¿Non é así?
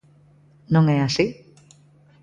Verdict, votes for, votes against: accepted, 2, 0